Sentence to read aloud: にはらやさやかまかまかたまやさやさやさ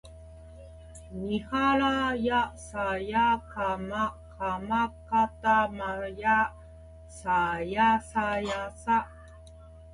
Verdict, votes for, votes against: accepted, 2, 0